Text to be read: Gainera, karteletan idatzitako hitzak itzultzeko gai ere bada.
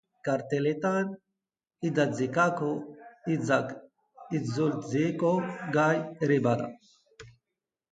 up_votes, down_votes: 0, 2